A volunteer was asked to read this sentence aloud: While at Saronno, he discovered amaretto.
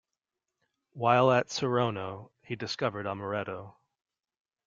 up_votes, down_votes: 2, 0